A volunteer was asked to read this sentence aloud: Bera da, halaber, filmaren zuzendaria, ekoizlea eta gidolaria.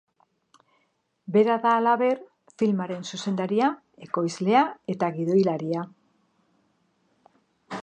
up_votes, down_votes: 2, 1